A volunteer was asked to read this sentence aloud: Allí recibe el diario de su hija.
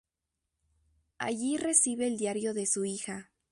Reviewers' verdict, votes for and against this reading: accepted, 2, 0